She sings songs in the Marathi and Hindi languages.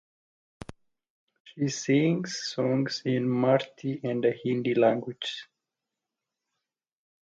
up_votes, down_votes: 0, 2